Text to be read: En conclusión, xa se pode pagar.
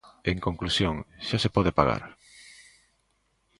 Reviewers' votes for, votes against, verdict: 2, 0, accepted